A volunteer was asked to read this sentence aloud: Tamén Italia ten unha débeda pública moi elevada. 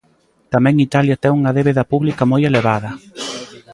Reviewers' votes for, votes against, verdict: 2, 0, accepted